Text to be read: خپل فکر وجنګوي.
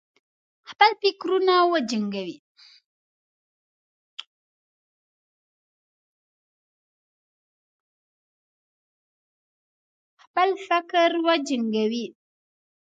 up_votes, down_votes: 1, 2